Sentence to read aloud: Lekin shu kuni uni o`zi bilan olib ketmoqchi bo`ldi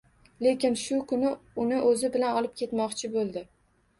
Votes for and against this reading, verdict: 2, 0, accepted